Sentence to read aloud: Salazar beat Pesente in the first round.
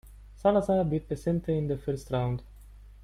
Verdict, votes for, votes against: rejected, 0, 2